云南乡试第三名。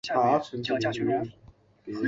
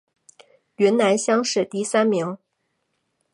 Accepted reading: second